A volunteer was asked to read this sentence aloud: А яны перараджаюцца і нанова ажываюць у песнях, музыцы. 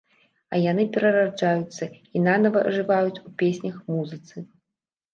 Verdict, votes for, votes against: rejected, 0, 2